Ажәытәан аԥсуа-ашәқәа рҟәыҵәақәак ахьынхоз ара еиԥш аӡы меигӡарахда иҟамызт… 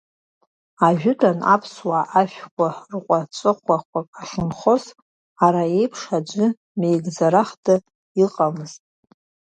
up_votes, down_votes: 1, 2